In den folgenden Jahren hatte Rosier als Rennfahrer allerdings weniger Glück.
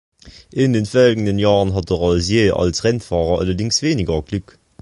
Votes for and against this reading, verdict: 2, 1, accepted